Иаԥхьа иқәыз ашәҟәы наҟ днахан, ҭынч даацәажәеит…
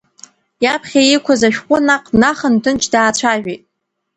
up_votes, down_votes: 2, 0